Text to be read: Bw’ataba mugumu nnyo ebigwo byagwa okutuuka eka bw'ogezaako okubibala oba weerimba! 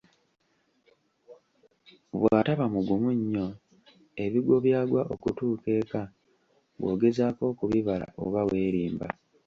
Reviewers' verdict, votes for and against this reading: accepted, 2, 1